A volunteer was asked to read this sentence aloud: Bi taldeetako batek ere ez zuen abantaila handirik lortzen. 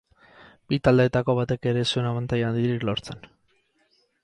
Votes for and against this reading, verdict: 4, 0, accepted